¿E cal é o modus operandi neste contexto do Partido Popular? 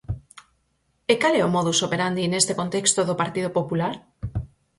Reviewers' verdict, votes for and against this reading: accepted, 4, 0